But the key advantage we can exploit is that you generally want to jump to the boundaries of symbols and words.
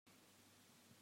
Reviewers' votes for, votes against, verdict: 0, 2, rejected